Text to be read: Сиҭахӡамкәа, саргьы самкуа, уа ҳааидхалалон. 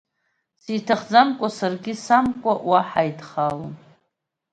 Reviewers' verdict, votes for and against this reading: accepted, 3, 0